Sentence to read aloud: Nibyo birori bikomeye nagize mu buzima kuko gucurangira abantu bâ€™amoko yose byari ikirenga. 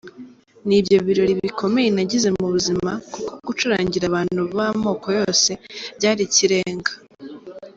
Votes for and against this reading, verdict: 2, 1, accepted